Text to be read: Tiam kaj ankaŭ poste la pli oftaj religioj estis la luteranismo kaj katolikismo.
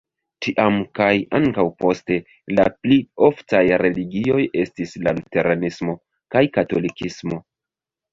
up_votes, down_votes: 1, 2